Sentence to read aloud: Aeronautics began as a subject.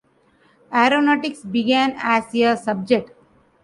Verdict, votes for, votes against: rejected, 0, 2